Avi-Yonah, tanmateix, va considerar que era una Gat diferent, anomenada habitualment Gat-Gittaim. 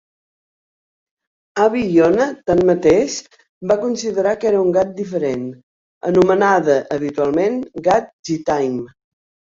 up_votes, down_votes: 1, 2